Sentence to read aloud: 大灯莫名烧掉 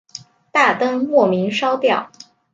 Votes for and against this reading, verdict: 2, 0, accepted